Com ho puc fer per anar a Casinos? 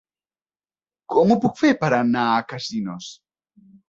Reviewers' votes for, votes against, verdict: 3, 0, accepted